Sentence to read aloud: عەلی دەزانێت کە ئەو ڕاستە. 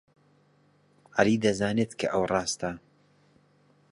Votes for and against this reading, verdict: 2, 0, accepted